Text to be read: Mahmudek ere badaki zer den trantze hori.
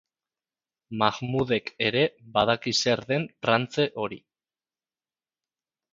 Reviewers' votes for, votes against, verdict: 2, 0, accepted